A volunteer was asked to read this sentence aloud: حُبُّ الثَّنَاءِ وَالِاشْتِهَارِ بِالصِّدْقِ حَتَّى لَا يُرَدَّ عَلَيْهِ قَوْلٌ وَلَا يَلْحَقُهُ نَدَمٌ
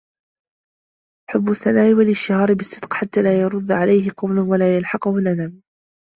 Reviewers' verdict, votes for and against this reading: rejected, 0, 2